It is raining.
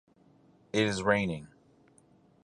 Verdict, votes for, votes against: accepted, 4, 0